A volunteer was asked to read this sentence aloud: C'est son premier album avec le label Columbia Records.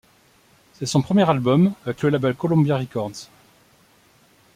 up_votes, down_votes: 0, 2